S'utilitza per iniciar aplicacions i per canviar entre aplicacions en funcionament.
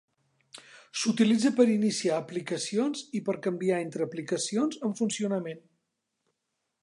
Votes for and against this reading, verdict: 2, 0, accepted